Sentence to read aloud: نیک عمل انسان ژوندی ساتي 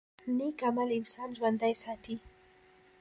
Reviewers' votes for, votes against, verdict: 0, 2, rejected